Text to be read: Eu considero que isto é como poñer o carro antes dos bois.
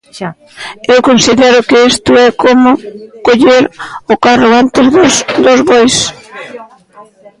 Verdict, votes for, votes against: rejected, 0, 2